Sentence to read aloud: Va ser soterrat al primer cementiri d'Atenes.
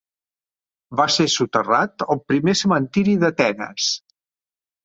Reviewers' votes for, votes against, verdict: 4, 0, accepted